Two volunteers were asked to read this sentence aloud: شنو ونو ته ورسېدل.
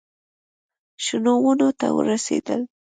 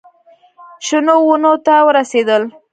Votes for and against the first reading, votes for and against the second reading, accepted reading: 2, 0, 1, 2, first